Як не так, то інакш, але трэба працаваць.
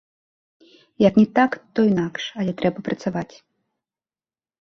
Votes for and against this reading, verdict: 1, 2, rejected